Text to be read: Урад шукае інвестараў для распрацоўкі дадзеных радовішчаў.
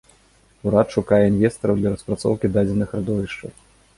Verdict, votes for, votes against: accepted, 2, 0